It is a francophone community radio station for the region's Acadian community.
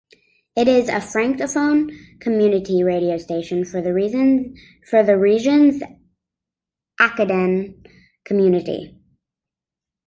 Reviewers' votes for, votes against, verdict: 0, 2, rejected